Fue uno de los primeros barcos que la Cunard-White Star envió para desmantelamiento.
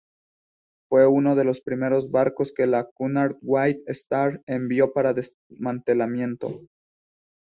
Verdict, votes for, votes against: rejected, 0, 2